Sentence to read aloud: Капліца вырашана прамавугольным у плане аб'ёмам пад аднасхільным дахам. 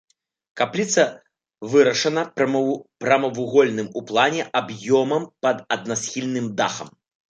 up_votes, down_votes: 0, 2